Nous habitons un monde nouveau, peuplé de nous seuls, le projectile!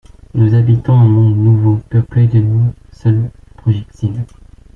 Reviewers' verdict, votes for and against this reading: rejected, 0, 2